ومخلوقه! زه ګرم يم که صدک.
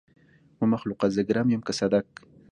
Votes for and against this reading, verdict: 2, 0, accepted